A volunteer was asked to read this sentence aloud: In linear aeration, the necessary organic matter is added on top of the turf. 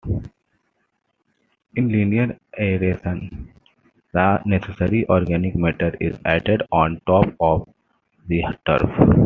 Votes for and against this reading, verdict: 2, 1, accepted